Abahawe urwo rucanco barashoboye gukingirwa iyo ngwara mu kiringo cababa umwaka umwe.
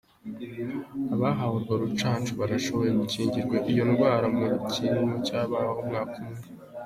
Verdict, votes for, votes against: accepted, 2, 0